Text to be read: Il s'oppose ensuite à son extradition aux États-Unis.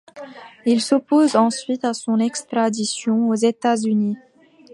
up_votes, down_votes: 2, 0